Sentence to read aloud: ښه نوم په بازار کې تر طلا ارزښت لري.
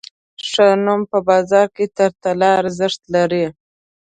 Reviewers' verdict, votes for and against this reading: accepted, 2, 0